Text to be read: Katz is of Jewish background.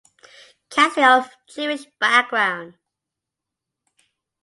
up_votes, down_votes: 0, 2